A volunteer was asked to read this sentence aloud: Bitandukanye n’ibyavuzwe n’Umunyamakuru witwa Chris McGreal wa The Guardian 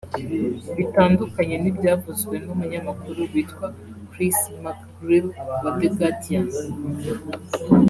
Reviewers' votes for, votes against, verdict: 3, 0, accepted